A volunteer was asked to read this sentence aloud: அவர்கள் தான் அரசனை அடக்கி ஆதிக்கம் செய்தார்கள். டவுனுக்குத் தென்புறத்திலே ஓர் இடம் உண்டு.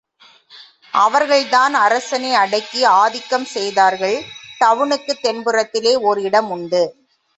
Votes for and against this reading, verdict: 2, 1, accepted